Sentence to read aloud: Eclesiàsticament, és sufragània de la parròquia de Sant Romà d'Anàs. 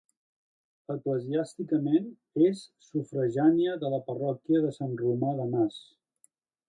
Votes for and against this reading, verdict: 2, 0, accepted